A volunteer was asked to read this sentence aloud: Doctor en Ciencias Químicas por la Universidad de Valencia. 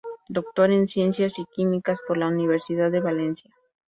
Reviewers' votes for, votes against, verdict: 0, 2, rejected